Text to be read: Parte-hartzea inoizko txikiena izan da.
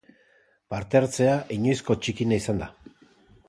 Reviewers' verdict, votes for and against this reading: accepted, 2, 0